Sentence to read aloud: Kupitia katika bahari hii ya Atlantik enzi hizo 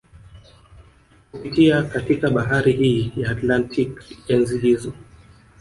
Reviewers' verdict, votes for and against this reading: accepted, 2, 1